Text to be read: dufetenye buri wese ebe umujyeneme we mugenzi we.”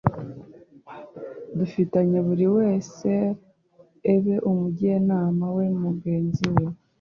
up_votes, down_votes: 1, 2